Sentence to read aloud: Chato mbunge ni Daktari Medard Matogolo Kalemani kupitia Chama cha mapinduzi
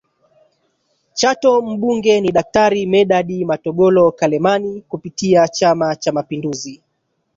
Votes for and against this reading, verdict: 1, 2, rejected